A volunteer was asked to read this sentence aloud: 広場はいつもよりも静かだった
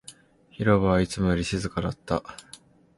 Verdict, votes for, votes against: accepted, 2, 0